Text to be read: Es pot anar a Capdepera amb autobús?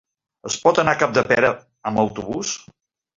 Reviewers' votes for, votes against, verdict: 3, 0, accepted